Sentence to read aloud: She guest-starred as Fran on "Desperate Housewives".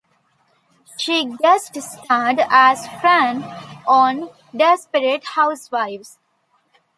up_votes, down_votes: 2, 0